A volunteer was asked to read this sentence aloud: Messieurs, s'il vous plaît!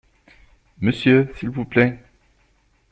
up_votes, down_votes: 0, 2